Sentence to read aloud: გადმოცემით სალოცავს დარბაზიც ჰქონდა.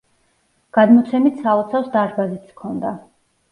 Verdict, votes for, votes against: accepted, 2, 0